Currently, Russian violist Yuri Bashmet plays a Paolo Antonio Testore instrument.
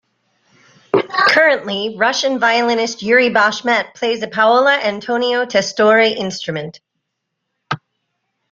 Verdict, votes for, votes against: accepted, 2, 0